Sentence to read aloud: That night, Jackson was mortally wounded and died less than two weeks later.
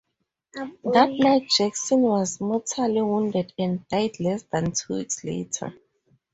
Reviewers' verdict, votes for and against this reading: accepted, 4, 0